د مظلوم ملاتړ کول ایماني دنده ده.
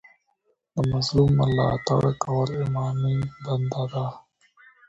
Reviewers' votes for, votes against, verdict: 0, 2, rejected